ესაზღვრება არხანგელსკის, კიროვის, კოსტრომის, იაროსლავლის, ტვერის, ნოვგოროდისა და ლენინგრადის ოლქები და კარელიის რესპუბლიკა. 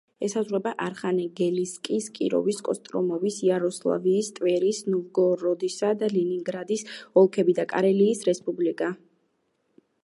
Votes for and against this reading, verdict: 1, 2, rejected